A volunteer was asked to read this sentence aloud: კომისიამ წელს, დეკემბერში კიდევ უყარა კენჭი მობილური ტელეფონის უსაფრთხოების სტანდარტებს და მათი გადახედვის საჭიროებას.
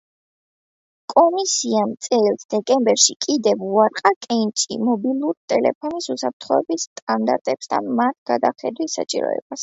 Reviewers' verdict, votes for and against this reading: rejected, 0, 2